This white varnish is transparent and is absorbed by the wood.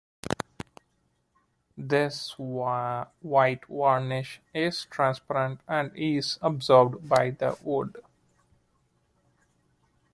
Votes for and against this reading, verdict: 0, 2, rejected